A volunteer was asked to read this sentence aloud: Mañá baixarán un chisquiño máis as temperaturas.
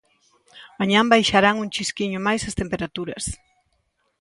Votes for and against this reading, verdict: 2, 0, accepted